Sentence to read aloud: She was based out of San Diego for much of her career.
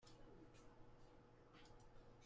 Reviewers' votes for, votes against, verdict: 0, 2, rejected